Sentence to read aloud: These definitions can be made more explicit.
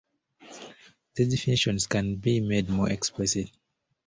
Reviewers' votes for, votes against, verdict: 2, 1, accepted